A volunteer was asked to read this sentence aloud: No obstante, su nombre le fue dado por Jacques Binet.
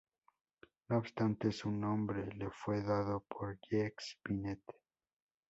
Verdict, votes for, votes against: rejected, 2, 2